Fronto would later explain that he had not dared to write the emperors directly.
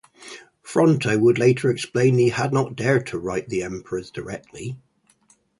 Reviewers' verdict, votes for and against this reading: accepted, 4, 0